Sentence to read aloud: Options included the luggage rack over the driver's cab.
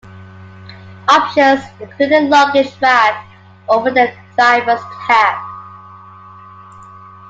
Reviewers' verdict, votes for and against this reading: rejected, 0, 3